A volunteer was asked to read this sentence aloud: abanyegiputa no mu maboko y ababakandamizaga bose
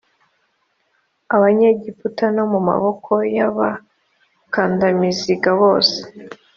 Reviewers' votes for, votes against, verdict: 1, 2, rejected